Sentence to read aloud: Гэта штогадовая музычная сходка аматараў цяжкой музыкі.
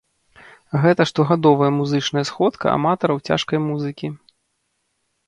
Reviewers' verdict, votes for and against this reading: rejected, 0, 2